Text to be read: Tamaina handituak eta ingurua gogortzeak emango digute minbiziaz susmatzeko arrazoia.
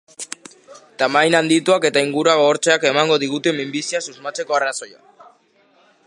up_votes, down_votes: 2, 0